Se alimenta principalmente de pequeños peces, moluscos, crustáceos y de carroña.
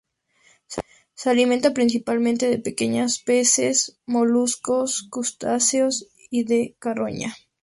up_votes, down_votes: 2, 2